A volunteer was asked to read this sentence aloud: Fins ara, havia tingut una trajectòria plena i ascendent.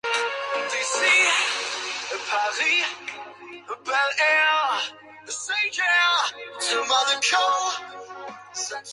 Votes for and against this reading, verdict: 0, 2, rejected